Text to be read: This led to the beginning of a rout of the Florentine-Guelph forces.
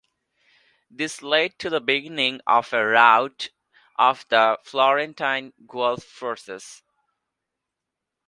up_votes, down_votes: 2, 0